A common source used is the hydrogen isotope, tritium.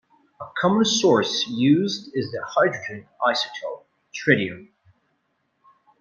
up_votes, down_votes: 2, 0